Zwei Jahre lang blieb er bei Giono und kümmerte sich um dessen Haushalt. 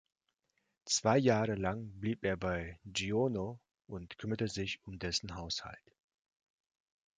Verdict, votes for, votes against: accepted, 2, 0